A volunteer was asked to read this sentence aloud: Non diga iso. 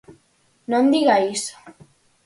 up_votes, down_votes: 4, 0